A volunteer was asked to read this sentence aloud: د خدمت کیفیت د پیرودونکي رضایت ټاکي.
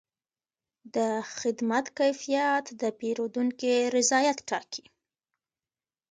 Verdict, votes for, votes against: rejected, 0, 2